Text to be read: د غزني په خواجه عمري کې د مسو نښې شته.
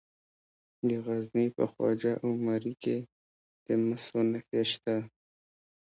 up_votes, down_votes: 0, 2